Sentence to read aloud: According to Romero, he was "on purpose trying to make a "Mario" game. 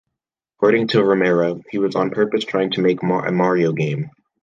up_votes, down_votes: 0, 2